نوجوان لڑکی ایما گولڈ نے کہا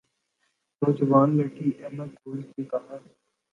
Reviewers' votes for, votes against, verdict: 3, 0, accepted